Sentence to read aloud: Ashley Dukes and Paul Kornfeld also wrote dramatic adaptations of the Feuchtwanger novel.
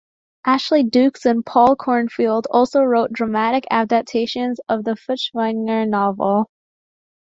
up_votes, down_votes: 1, 2